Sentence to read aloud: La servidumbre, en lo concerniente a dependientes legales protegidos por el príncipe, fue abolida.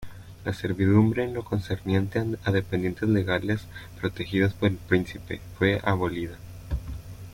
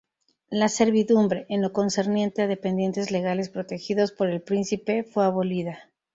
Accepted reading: second